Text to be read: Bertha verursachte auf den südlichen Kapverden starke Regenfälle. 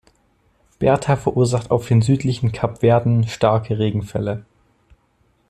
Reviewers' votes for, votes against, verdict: 2, 0, accepted